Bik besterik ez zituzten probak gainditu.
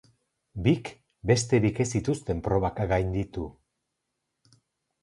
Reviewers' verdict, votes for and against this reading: accepted, 4, 0